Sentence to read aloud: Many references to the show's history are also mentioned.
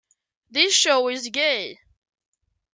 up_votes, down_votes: 0, 2